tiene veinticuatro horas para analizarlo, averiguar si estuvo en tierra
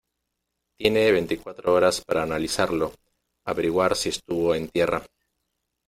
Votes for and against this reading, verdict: 2, 1, accepted